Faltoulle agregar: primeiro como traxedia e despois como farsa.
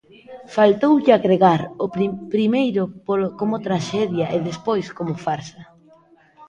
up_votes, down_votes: 0, 2